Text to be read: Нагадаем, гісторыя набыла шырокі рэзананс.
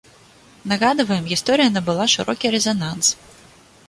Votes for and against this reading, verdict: 0, 2, rejected